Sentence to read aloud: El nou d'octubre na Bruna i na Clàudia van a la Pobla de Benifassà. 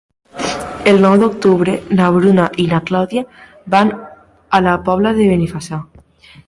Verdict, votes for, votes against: rejected, 1, 2